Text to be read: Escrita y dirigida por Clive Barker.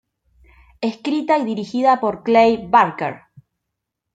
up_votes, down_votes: 2, 0